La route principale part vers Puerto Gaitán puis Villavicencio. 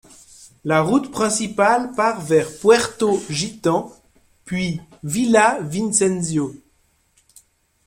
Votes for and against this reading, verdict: 0, 2, rejected